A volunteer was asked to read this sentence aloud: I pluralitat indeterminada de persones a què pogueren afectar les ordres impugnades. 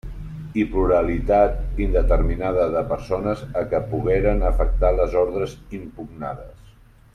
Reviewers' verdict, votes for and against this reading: accepted, 2, 0